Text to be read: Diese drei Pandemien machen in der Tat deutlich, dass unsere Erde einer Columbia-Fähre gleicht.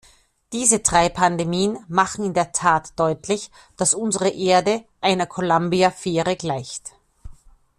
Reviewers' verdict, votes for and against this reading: accepted, 2, 0